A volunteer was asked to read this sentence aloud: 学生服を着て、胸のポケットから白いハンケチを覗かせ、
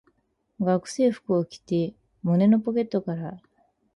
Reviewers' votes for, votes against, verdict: 0, 4, rejected